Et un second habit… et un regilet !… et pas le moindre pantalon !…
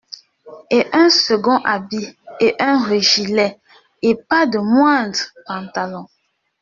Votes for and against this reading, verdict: 0, 2, rejected